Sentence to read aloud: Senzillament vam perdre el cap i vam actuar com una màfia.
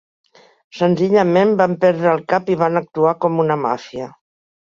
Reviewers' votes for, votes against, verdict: 2, 1, accepted